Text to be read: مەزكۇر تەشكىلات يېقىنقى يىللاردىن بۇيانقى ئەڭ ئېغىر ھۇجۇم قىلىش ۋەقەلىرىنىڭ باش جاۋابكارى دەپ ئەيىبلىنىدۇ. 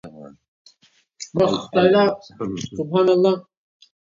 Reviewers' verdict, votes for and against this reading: rejected, 0, 2